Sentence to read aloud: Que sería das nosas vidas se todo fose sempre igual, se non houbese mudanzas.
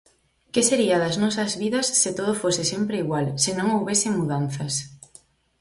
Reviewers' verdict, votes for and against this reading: accepted, 4, 0